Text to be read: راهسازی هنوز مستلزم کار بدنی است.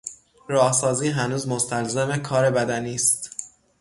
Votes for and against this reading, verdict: 3, 3, rejected